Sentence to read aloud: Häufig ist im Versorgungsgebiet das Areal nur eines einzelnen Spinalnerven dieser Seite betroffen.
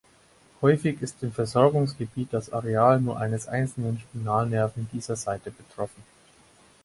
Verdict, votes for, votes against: accepted, 4, 0